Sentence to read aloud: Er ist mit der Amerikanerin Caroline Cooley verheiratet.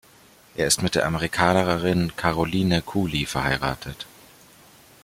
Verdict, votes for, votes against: rejected, 1, 2